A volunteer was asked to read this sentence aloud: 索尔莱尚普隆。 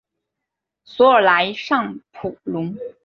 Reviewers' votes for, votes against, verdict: 2, 0, accepted